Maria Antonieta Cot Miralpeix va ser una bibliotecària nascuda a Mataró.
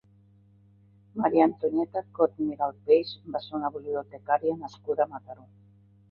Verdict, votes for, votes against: accepted, 2, 0